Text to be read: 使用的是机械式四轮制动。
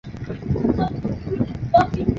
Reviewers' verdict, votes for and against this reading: rejected, 0, 2